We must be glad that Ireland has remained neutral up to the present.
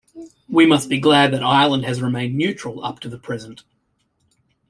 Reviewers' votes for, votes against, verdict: 2, 1, accepted